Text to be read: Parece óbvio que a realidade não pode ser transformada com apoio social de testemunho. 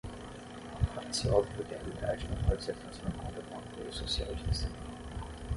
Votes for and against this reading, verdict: 6, 3, accepted